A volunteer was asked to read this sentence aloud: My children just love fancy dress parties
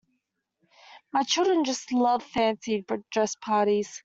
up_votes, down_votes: 1, 2